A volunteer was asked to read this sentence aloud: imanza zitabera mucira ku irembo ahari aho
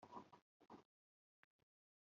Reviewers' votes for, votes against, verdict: 1, 2, rejected